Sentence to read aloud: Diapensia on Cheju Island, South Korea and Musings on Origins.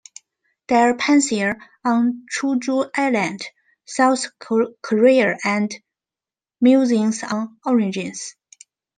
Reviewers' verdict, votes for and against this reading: rejected, 0, 2